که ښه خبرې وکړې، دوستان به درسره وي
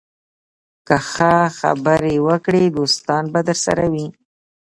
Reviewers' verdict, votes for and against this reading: rejected, 1, 2